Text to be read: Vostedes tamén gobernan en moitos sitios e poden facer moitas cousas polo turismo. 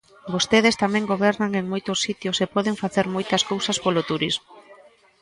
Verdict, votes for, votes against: accepted, 2, 0